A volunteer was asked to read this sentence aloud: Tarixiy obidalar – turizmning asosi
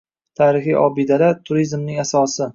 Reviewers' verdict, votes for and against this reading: accepted, 2, 0